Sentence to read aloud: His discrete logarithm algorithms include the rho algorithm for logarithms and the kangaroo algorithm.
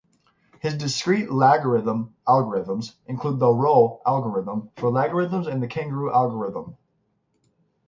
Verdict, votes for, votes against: accepted, 6, 0